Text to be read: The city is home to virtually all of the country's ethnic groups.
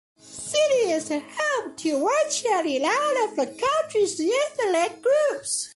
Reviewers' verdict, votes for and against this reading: rejected, 1, 2